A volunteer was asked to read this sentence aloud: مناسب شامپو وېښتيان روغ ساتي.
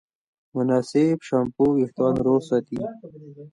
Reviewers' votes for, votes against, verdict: 2, 1, accepted